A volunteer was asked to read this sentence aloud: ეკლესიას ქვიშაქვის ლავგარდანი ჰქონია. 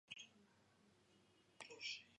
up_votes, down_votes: 0, 2